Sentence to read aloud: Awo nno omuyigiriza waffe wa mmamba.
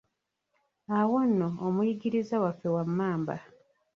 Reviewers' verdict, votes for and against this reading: rejected, 0, 2